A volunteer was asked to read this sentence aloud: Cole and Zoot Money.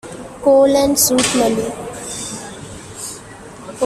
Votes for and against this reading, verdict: 0, 2, rejected